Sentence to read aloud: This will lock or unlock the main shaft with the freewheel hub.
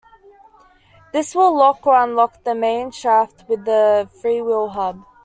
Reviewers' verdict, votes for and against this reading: accepted, 2, 0